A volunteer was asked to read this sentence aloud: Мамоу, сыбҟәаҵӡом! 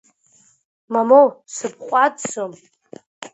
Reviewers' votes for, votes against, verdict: 2, 0, accepted